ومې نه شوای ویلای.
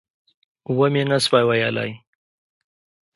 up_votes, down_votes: 2, 0